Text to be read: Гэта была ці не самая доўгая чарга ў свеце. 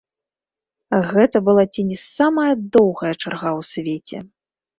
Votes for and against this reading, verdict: 1, 2, rejected